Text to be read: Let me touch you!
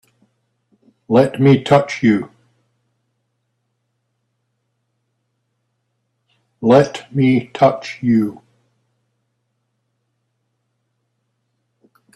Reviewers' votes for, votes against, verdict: 2, 3, rejected